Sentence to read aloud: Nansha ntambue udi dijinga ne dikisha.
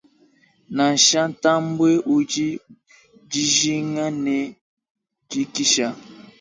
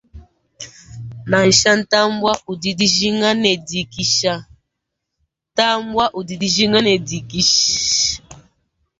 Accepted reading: first